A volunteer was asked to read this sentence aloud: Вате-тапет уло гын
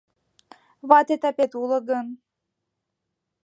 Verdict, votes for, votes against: accepted, 2, 0